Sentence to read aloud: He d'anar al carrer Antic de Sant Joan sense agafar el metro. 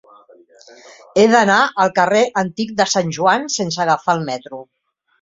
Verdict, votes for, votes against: rejected, 1, 2